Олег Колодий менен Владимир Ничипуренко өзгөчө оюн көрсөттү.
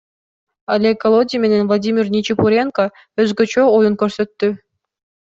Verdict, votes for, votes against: accepted, 2, 0